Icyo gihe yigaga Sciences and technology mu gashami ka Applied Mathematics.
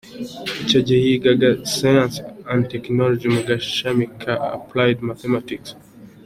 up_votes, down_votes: 2, 1